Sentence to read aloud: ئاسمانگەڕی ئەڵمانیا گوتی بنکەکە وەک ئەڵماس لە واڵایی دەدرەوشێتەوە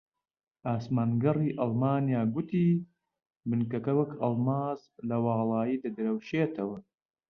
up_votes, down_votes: 2, 0